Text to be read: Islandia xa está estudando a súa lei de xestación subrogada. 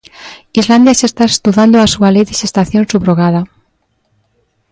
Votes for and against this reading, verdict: 2, 0, accepted